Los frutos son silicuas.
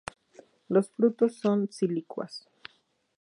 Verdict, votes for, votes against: accepted, 2, 0